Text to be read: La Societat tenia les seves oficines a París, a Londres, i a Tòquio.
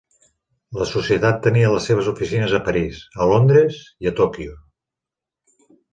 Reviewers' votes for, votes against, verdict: 4, 0, accepted